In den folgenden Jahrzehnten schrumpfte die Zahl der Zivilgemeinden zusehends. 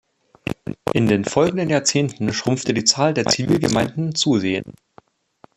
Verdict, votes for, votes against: accepted, 2, 1